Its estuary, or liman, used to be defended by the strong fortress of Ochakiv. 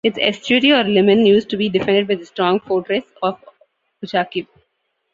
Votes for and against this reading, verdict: 1, 2, rejected